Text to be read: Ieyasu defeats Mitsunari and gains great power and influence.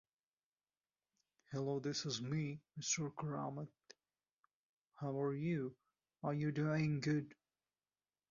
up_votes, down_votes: 0, 2